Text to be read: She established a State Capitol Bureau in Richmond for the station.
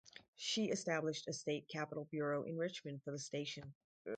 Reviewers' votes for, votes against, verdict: 2, 0, accepted